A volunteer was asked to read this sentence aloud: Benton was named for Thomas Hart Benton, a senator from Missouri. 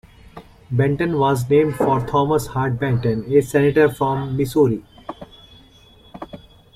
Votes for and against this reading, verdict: 0, 2, rejected